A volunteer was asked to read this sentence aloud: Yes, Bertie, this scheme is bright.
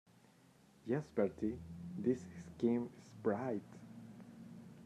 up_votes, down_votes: 0, 2